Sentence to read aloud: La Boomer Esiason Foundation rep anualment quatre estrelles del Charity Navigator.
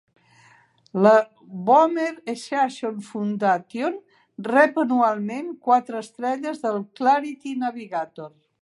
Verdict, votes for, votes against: rejected, 0, 2